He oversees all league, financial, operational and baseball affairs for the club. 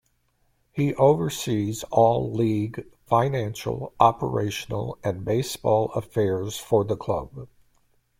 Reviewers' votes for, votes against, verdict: 2, 0, accepted